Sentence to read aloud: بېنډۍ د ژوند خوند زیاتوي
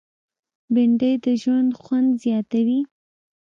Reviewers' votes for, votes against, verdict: 1, 2, rejected